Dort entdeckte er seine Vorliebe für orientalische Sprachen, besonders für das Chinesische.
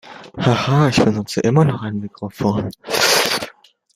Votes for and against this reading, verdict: 0, 2, rejected